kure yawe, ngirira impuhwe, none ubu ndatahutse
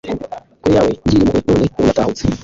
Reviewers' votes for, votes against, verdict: 0, 2, rejected